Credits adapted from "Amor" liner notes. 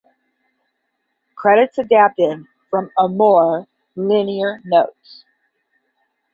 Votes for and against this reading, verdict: 0, 10, rejected